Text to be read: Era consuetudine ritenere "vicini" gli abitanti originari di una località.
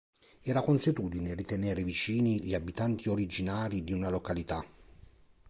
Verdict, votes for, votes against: accepted, 2, 0